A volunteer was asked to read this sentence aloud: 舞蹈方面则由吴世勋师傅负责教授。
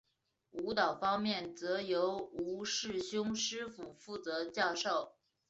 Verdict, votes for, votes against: accepted, 2, 1